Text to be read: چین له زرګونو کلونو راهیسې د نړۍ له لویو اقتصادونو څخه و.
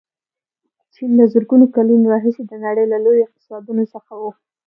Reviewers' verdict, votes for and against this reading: accepted, 2, 0